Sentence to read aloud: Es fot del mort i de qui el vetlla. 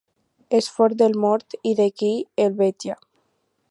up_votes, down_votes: 2, 4